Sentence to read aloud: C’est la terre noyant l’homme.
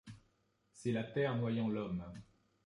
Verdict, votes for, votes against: accepted, 2, 0